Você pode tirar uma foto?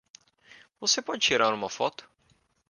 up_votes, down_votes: 2, 1